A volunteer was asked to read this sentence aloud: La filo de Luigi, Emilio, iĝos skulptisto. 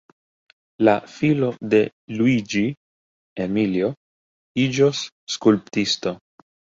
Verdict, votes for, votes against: rejected, 1, 2